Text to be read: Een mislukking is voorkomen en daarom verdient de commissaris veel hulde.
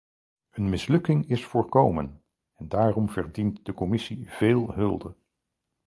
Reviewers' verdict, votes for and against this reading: rejected, 2, 4